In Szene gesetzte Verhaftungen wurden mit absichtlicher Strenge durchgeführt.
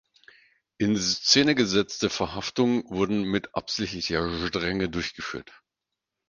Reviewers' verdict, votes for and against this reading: rejected, 2, 4